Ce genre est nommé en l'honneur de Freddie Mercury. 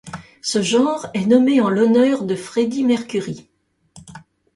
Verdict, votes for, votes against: accepted, 2, 0